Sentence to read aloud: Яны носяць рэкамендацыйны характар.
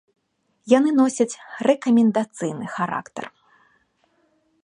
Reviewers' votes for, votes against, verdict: 2, 0, accepted